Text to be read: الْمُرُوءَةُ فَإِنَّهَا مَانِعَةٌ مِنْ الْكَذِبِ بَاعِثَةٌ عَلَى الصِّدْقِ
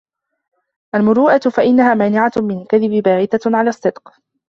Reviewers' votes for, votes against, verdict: 0, 2, rejected